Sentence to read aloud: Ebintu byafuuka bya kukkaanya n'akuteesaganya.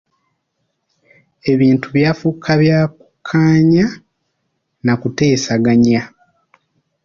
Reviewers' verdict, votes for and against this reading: accepted, 2, 0